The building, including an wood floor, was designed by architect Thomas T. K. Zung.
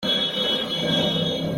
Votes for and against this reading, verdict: 0, 2, rejected